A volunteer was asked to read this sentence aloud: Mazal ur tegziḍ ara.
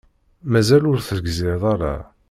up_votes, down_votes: 1, 2